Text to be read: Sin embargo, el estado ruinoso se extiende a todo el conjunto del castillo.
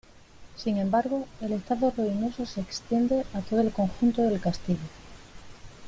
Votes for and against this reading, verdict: 2, 0, accepted